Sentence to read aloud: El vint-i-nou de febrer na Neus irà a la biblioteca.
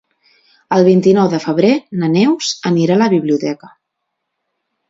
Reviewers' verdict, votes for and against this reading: rejected, 0, 2